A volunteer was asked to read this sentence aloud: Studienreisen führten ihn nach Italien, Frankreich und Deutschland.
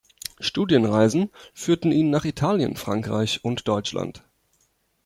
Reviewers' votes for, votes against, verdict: 2, 0, accepted